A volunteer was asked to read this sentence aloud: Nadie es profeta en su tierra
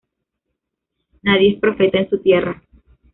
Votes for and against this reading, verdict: 2, 0, accepted